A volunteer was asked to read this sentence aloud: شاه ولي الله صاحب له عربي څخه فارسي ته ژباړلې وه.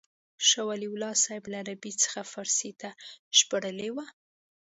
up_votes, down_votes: 2, 0